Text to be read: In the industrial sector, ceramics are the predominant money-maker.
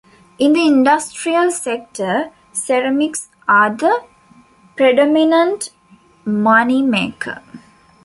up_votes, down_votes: 2, 1